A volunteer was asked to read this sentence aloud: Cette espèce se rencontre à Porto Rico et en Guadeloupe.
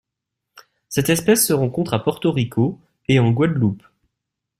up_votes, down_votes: 2, 0